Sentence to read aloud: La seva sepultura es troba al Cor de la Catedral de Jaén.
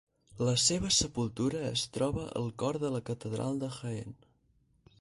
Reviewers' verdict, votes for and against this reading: rejected, 2, 4